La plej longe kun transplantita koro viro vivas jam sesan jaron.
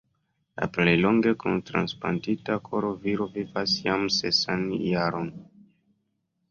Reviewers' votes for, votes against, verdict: 1, 3, rejected